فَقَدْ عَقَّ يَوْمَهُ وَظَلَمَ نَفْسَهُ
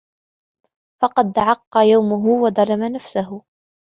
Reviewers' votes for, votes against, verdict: 2, 4, rejected